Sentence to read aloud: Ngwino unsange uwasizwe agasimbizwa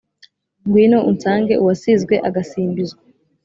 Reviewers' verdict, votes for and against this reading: accepted, 2, 0